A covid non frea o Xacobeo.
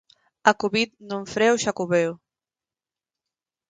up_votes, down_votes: 4, 2